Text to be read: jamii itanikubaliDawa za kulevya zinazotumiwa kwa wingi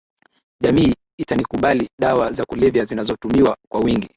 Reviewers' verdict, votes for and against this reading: accepted, 5, 1